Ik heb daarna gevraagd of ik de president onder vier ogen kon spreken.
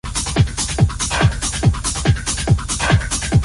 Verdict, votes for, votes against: rejected, 0, 2